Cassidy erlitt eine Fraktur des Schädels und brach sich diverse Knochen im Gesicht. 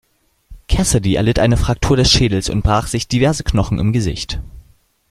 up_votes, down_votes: 2, 0